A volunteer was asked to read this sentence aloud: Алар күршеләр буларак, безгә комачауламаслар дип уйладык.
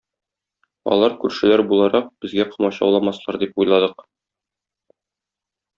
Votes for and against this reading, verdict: 1, 2, rejected